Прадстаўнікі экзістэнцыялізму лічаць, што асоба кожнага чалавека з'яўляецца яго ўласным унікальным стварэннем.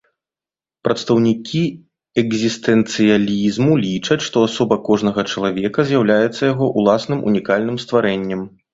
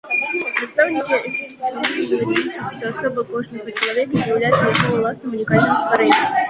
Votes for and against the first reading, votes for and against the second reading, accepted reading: 2, 0, 0, 2, first